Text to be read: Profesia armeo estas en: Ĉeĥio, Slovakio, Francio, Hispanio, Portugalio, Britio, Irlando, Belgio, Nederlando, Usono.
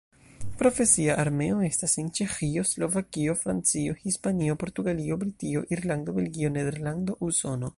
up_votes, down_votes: 2, 0